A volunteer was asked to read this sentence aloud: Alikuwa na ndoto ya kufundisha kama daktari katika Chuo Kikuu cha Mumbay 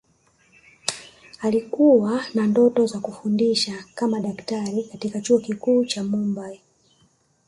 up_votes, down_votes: 1, 2